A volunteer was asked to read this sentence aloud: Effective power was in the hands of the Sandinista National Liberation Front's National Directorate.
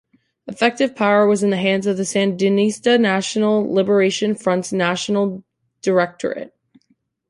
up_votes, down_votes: 2, 0